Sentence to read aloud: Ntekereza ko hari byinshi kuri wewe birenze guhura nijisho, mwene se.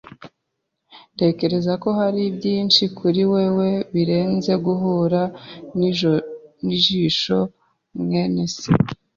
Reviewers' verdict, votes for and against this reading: rejected, 0, 2